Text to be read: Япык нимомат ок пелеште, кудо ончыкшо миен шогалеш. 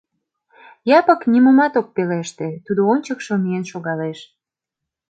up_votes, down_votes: 0, 2